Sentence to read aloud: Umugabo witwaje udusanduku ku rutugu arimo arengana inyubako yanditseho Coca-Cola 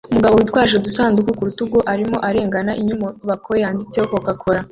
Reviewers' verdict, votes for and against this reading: rejected, 1, 2